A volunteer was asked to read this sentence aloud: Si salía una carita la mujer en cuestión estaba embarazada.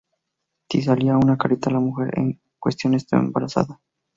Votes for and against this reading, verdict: 0, 2, rejected